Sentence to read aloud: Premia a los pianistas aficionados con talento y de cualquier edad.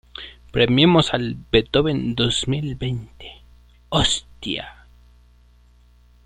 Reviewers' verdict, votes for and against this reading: rejected, 0, 2